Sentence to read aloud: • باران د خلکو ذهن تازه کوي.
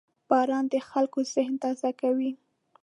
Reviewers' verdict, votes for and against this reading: accepted, 2, 0